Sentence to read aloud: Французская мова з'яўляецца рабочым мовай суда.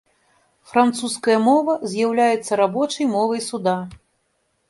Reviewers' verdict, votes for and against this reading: accepted, 2, 1